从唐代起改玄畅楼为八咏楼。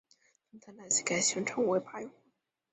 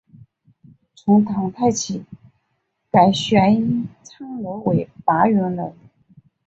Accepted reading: second